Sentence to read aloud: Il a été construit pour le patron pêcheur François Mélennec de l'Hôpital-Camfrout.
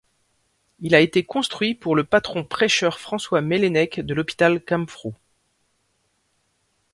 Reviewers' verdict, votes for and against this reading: rejected, 2, 3